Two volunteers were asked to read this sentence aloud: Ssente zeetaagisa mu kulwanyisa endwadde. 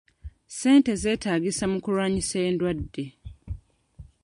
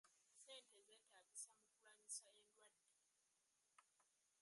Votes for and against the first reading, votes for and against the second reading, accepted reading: 2, 0, 1, 2, first